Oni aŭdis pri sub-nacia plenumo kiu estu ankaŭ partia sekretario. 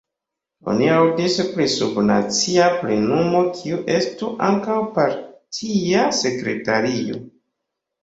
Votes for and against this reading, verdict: 2, 1, accepted